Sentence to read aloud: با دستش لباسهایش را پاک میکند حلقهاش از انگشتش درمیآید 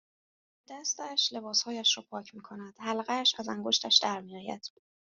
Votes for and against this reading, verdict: 0, 2, rejected